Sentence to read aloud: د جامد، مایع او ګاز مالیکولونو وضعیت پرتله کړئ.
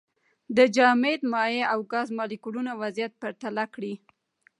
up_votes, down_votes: 2, 0